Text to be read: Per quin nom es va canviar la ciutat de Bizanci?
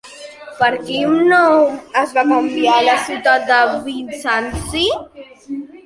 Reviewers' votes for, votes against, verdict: 2, 1, accepted